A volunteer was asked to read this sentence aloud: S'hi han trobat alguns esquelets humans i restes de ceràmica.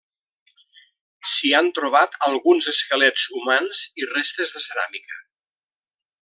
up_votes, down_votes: 2, 0